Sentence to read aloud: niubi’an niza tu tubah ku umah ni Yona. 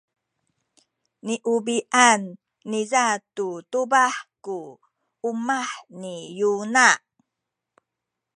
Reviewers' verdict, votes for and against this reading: rejected, 1, 2